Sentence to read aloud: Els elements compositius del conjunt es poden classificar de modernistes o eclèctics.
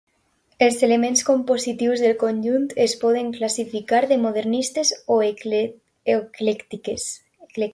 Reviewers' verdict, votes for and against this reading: rejected, 0, 2